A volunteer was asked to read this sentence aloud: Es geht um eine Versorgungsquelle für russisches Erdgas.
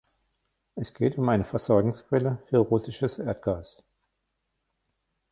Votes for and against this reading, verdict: 1, 2, rejected